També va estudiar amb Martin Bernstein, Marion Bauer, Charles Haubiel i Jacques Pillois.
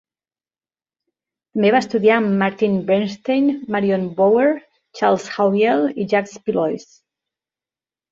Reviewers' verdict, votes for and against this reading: rejected, 1, 2